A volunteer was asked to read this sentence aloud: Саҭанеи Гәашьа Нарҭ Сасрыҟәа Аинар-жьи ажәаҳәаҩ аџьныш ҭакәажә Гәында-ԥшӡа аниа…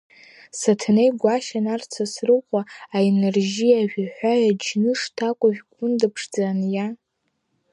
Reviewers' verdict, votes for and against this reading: accepted, 3, 0